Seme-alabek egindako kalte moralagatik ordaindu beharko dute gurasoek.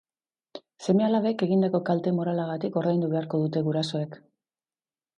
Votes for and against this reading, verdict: 2, 0, accepted